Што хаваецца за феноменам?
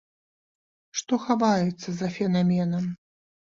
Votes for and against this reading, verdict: 1, 2, rejected